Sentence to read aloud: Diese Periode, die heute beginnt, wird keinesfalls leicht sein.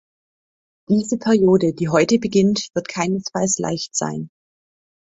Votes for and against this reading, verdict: 2, 0, accepted